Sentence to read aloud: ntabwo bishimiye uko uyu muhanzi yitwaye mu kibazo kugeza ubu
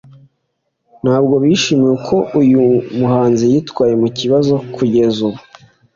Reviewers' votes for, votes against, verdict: 2, 0, accepted